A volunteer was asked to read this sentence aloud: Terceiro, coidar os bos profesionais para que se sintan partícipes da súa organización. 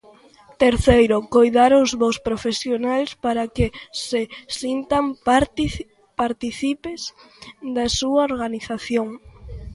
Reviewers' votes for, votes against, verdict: 0, 2, rejected